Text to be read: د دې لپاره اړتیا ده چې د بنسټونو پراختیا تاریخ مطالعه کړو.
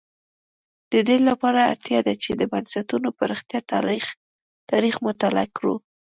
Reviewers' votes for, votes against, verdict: 2, 0, accepted